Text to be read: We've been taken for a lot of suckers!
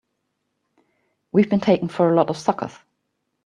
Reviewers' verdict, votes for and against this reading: accepted, 2, 0